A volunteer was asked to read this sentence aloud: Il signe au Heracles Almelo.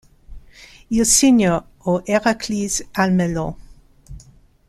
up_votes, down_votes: 0, 3